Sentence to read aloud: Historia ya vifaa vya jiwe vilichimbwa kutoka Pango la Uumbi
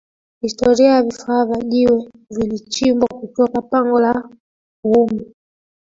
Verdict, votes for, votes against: accepted, 3, 1